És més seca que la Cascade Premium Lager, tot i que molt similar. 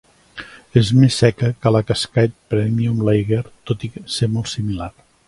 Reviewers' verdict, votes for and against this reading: rejected, 0, 3